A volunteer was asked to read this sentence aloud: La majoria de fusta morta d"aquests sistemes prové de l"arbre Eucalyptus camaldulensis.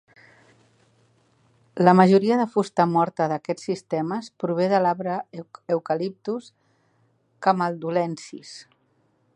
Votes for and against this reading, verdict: 1, 2, rejected